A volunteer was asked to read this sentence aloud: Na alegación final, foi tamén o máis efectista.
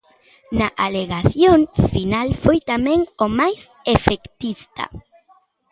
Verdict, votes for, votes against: accepted, 2, 0